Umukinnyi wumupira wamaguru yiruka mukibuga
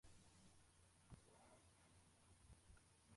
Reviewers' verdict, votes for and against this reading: rejected, 0, 2